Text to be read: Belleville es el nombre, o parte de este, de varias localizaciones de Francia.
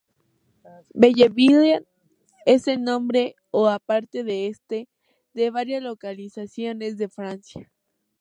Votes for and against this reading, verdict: 2, 0, accepted